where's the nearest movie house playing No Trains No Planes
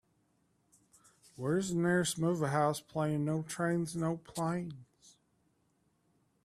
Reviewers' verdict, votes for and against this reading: rejected, 0, 2